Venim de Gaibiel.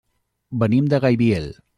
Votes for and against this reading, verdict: 3, 0, accepted